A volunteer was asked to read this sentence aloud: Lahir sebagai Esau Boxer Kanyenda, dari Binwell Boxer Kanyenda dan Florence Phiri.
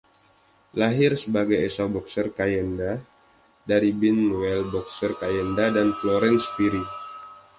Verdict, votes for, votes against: accepted, 2, 1